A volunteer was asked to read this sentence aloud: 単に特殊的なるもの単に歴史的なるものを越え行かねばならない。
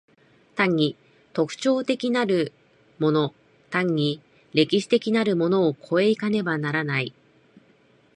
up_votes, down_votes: 1, 2